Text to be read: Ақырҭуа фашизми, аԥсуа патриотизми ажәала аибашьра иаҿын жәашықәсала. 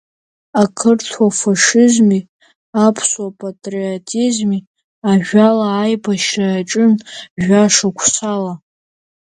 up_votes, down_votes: 0, 2